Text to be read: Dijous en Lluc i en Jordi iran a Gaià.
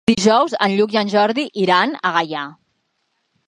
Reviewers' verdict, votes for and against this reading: accepted, 3, 0